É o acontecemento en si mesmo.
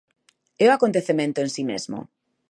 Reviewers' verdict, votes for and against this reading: accepted, 2, 0